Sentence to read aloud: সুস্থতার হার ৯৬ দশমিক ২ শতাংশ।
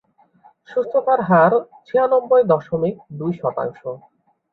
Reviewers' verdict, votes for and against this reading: rejected, 0, 2